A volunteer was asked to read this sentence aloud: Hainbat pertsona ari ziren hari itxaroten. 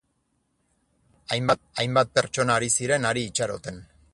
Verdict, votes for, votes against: rejected, 0, 4